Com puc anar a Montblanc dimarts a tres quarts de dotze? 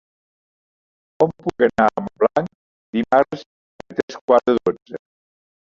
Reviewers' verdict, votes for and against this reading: rejected, 1, 2